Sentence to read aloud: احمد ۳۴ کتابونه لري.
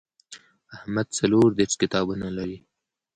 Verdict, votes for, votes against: rejected, 0, 2